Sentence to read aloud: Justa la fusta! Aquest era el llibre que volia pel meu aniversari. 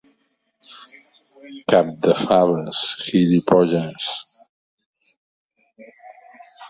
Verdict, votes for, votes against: rejected, 0, 2